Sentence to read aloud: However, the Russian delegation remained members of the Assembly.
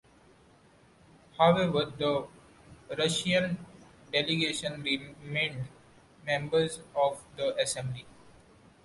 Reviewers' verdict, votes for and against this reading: accepted, 3, 2